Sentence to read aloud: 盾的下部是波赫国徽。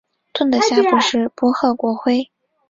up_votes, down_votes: 5, 0